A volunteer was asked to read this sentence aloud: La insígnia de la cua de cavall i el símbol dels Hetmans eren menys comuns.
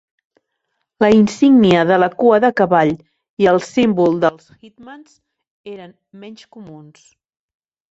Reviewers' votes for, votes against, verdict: 0, 2, rejected